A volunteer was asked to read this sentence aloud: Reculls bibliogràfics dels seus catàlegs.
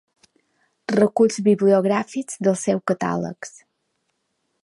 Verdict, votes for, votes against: accepted, 2, 0